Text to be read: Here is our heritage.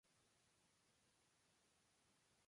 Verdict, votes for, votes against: rejected, 0, 2